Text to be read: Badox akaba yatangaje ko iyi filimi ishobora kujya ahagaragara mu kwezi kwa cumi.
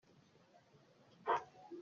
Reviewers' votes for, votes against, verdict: 0, 2, rejected